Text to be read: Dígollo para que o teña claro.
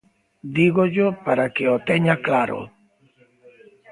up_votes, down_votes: 2, 0